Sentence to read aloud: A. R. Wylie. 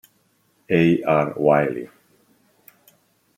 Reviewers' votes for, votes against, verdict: 2, 0, accepted